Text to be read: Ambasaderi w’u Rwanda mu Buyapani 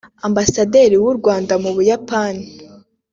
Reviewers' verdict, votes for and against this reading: accepted, 2, 0